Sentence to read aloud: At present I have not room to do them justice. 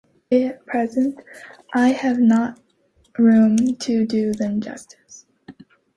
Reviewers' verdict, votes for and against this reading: accepted, 2, 1